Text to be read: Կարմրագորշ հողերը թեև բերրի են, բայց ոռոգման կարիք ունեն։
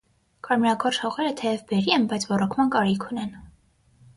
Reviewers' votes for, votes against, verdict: 3, 0, accepted